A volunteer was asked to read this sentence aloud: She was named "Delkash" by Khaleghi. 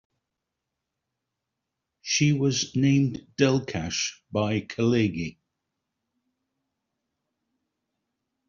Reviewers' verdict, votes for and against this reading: accepted, 2, 1